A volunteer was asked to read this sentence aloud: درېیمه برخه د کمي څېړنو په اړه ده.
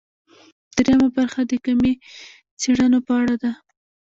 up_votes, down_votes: 2, 0